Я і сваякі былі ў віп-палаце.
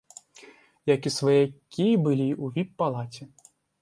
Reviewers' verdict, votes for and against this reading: rejected, 1, 2